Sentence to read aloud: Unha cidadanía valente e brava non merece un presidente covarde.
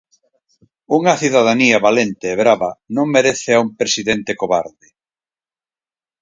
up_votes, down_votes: 0, 4